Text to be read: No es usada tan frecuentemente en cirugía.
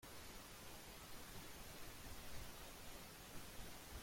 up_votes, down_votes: 0, 2